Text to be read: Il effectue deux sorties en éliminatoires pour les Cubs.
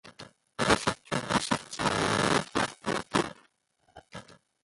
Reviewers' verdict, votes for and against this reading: rejected, 1, 2